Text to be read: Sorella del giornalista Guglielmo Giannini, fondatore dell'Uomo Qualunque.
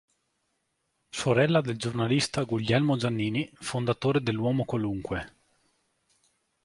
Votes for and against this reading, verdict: 2, 0, accepted